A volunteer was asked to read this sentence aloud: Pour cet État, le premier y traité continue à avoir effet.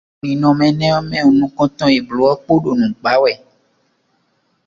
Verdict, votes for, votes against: rejected, 0, 2